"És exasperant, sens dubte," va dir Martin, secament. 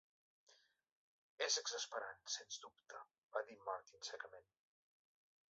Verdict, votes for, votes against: accepted, 2, 0